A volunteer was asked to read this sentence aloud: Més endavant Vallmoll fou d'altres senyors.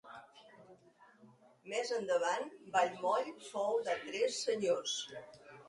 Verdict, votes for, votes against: rejected, 0, 2